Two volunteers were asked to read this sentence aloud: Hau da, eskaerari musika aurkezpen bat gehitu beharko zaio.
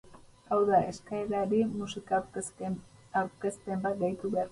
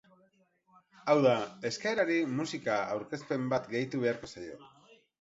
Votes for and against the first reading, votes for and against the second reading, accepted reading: 0, 4, 10, 0, second